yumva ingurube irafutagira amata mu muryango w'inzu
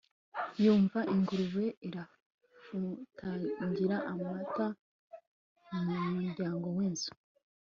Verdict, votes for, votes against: accepted, 2, 0